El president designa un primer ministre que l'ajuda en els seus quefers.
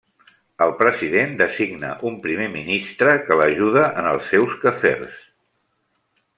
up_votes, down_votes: 2, 0